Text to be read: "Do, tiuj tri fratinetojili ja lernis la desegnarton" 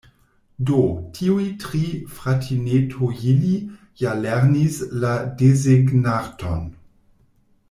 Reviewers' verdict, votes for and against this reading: rejected, 1, 2